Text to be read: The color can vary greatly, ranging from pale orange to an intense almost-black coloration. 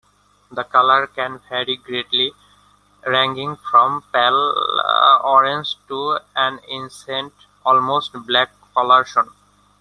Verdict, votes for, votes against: rejected, 1, 2